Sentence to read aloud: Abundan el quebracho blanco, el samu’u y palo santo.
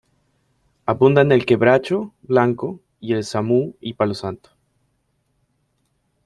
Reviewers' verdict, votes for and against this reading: accepted, 2, 0